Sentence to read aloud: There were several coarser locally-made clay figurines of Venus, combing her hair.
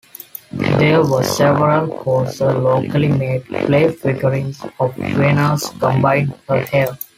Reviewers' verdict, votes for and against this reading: rejected, 1, 2